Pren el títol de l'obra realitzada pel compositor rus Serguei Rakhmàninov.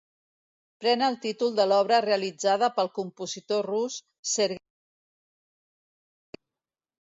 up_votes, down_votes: 0, 2